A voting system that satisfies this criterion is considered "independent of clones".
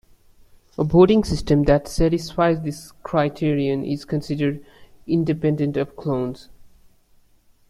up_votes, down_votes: 2, 0